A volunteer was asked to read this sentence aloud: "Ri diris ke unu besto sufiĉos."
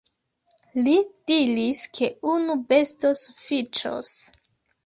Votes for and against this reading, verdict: 1, 2, rejected